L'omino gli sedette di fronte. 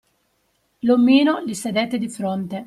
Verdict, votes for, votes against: accepted, 2, 0